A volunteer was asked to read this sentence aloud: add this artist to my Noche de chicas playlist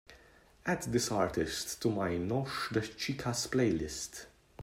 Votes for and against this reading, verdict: 2, 0, accepted